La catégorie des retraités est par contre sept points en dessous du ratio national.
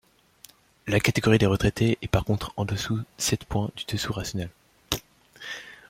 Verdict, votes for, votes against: rejected, 0, 2